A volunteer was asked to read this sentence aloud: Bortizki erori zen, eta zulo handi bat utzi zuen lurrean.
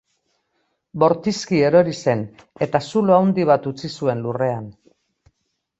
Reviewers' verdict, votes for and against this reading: accepted, 2, 0